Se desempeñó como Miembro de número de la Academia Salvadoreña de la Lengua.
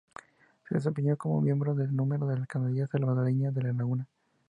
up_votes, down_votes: 2, 0